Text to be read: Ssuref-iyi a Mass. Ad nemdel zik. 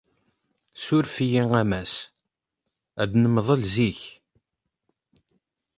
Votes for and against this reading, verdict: 0, 2, rejected